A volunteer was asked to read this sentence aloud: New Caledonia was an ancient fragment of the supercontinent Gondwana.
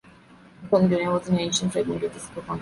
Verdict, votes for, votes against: rejected, 0, 2